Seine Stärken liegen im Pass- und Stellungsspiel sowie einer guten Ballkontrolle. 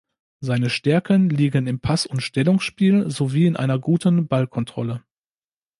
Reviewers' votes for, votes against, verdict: 0, 2, rejected